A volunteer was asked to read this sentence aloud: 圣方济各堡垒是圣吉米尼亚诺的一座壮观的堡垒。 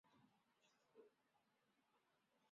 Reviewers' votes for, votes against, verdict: 0, 3, rejected